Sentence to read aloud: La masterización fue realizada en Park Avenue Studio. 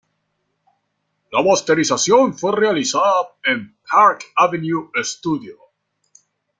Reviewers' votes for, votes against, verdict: 0, 2, rejected